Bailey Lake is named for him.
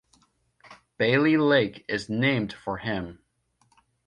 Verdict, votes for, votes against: accepted, 2, 0